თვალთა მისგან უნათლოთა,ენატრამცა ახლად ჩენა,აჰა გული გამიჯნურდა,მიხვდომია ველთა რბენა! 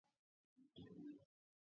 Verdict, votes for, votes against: rejected, 0, 2